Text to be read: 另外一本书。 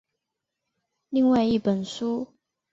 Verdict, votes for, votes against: accepted, 3, 0